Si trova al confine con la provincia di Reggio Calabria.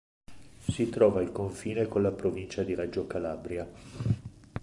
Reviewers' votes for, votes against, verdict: 2, 0, accepted